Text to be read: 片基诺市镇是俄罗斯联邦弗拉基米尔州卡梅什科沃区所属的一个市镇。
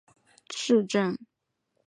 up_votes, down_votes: 1, 8